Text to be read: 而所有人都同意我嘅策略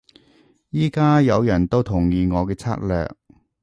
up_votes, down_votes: 0, 2